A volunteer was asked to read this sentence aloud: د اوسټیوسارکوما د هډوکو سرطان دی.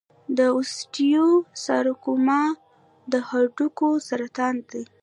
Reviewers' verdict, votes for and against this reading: rejected, 1, 2